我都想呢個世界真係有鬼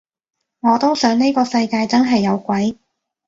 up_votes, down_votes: 2, 0